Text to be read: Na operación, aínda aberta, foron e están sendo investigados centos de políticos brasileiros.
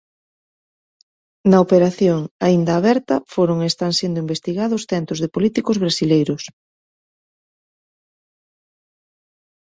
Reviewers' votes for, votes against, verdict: 1, 2, rejected